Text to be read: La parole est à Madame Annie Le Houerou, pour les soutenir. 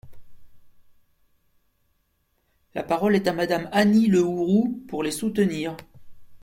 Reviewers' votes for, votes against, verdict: 2, 0, accepted